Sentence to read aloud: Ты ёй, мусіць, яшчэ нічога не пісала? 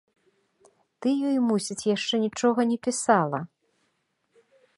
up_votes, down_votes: 2, 0